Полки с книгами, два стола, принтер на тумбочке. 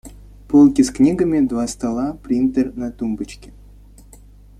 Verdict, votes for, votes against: accepted, 2, 0